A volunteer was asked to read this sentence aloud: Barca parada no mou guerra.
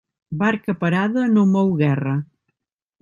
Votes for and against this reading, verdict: 3, 0, accepted